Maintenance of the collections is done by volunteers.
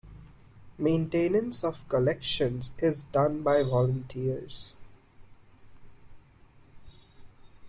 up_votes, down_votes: 0, 2